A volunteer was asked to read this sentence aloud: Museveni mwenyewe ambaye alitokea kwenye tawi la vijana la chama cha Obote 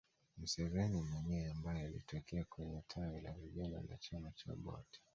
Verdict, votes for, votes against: accepted, 2, 0